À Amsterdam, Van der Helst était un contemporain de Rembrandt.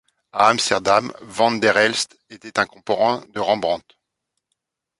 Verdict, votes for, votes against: rejected, 1, 2